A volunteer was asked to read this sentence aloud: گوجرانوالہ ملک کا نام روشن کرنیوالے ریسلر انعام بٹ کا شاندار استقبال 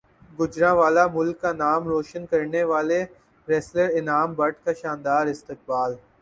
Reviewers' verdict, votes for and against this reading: accepted, 4, 0